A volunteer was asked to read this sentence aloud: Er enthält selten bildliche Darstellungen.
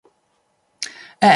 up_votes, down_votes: 0, 2